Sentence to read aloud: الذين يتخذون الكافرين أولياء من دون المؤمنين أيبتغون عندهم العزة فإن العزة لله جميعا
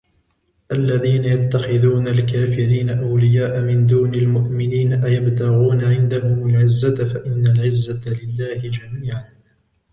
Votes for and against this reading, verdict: 2, 0, accepted